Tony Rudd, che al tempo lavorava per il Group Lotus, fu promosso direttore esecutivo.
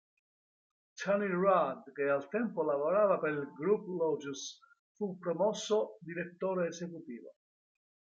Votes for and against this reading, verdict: 2, 1, accepted